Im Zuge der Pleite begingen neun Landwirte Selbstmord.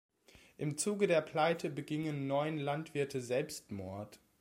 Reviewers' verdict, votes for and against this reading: accepted, 2, 0